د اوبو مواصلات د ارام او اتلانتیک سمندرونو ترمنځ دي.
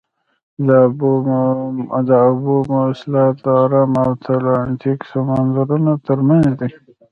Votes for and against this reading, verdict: 3, 1, accepted